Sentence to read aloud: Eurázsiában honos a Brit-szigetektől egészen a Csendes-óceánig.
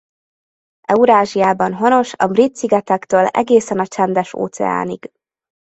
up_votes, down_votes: 2, 0